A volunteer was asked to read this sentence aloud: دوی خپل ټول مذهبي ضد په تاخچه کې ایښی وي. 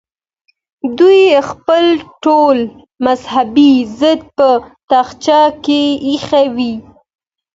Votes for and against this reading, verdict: 2, 0, accepted